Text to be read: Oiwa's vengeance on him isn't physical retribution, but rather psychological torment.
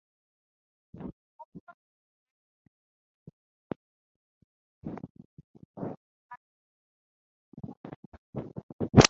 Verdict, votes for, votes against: rejected, 0, 2